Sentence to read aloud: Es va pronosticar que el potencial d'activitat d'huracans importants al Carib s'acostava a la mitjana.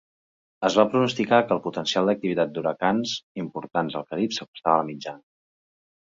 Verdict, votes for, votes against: rejected, 1, 2